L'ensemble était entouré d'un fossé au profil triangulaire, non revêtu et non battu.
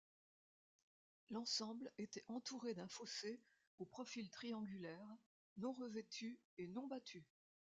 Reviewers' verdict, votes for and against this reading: accepted, 2, 0